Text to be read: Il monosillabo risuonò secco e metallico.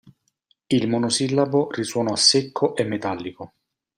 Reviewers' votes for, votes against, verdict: 2, 0, accepted